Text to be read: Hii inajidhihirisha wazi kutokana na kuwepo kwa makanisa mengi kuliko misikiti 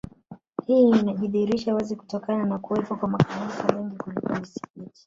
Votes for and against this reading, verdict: 4, 3, accepted